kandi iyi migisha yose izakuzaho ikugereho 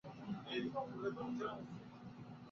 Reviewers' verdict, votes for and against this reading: rejected, 1, 2